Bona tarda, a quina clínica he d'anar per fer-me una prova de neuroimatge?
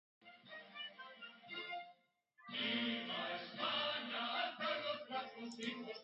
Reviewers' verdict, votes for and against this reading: rejected, 0, 2